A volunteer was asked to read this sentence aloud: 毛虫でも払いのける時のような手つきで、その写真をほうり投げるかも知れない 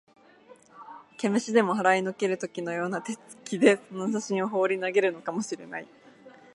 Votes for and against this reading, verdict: 1, 2, rejected